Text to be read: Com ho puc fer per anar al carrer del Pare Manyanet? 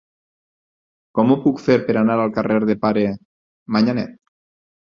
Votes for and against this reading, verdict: 0, 4, rejected